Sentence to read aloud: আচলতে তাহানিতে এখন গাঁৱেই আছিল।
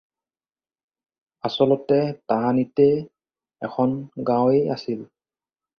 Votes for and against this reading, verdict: 4, 0, accepted